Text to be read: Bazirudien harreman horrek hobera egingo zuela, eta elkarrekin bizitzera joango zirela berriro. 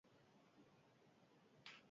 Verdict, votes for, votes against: rejected, 0, 4